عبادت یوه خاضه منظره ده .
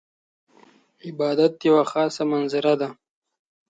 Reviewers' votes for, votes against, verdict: 2, 0, accepted